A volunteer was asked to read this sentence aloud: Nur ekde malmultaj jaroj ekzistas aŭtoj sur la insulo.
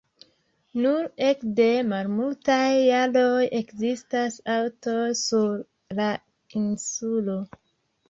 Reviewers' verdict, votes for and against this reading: accepted, 2, 0